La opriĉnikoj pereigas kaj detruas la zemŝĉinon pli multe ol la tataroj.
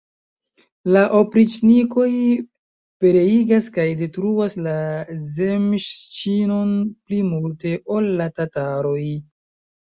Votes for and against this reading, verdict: 0, 2, rejected